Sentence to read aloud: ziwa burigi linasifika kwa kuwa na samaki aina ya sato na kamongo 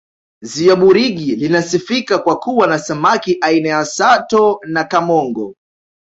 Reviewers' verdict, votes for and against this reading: accepted, 2, 0